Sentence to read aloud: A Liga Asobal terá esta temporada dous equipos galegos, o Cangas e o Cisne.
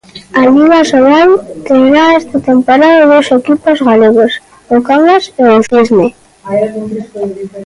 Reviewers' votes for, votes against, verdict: 1, 2, rejected